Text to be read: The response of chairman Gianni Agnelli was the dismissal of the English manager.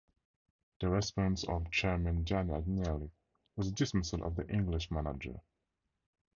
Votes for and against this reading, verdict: 2, 0, accepted